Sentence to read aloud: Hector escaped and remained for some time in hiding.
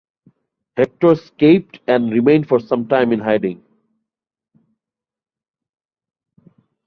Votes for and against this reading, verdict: 2, 0, accepted